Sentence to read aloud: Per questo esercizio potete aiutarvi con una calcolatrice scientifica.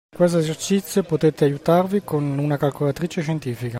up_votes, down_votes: 0, 2